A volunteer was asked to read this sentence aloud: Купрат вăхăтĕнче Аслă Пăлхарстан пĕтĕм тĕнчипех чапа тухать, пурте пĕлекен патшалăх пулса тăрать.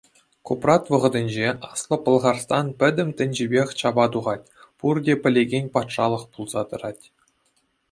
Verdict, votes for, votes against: accepted, 2, 0